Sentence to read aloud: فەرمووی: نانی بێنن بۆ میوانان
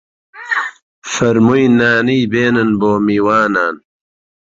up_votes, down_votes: 1, 2